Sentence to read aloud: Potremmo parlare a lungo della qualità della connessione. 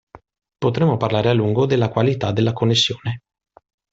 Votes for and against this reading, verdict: 2, 0, accepted